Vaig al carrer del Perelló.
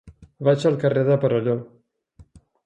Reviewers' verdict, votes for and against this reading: rejected, 1, 2